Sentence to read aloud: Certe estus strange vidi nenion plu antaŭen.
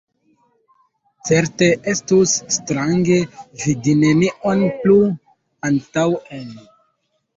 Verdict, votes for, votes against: rejected, 2, 3